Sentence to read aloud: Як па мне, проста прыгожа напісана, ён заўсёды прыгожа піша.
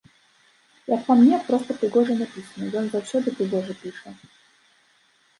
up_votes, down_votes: 2, 1